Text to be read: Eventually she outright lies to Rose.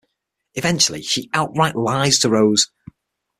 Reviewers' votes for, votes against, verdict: 6, 0, accepted